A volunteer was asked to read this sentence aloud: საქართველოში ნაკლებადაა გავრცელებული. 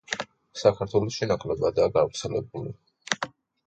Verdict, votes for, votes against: accepted, 2, 0